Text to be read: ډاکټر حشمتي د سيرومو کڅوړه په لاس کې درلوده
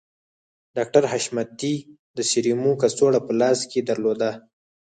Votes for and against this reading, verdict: 6, 0, accepted